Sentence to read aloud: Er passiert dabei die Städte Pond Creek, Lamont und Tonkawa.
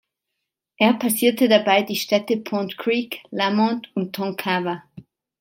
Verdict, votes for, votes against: accepted, 2, 0